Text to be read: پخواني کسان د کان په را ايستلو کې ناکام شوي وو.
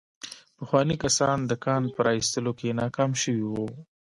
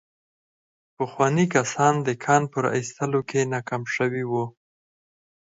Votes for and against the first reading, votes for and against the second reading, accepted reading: 0, 2, 4, 0, second